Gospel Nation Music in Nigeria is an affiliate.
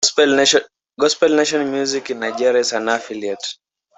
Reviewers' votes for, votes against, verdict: 1, 2, rejected